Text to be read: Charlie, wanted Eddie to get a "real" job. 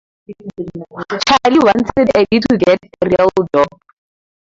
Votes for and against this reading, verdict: 0, 2, rejected